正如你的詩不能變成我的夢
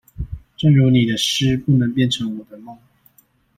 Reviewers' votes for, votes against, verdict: 2, 0, accepted